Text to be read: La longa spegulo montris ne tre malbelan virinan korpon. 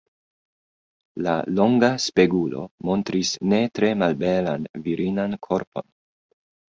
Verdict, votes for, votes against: accepted, 2, 1